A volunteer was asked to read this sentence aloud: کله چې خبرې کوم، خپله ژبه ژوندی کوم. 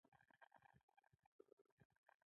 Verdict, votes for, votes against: accepted, 2, 1